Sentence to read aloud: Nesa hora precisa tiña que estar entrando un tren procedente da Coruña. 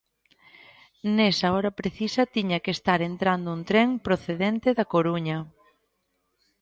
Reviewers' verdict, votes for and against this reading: accepted, 2, 1